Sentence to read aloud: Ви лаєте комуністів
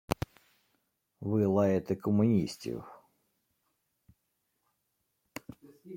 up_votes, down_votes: 1, 2